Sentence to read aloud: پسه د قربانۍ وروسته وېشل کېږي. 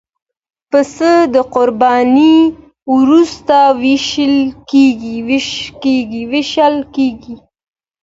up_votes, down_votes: 2, 0